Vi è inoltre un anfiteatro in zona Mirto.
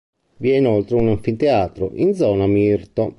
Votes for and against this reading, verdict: 2, 0, accepted